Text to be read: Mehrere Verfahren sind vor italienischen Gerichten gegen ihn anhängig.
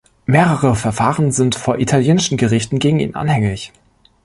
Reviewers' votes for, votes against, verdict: 2, 0, accepted